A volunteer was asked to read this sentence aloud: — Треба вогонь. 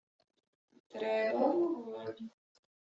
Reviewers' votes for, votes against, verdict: 1, 2, rejected